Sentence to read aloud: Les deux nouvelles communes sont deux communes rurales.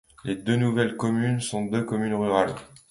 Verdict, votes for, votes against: accepted, 2, 0